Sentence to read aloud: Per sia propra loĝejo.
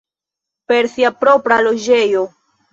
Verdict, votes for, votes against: rejected, 0, 2